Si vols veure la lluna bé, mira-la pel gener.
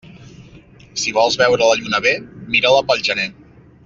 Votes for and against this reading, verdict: 2, 0, accepted